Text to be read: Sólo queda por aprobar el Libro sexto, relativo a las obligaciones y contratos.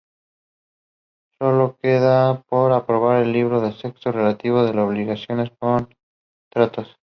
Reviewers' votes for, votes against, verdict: 2, 0, accepted